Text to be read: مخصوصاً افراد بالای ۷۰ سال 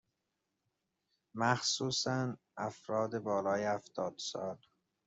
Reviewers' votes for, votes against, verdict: 0, 2, rejected